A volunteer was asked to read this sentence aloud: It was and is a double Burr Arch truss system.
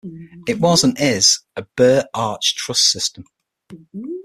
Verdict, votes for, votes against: rejected, 3, 6